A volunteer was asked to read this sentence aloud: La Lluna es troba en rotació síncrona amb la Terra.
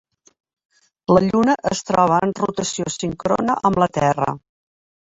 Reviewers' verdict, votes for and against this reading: rejected, 1, 2